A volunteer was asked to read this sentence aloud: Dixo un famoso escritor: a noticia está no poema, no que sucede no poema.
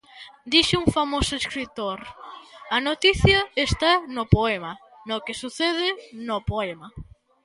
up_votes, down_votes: 3, 0